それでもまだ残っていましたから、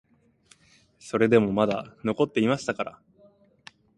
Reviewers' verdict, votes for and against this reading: accepted, 11, 3